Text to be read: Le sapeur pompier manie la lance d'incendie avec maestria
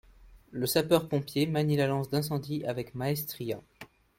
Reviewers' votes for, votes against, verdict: 2, 0, accepted